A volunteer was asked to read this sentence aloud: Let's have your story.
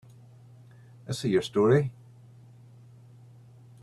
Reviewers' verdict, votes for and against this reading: rejected, 0, 2